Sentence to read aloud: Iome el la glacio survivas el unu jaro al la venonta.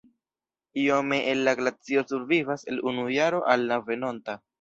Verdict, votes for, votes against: rejected, 1, 2